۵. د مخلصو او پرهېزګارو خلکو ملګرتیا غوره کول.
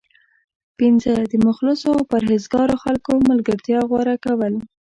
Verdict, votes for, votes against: rejected, 0, 2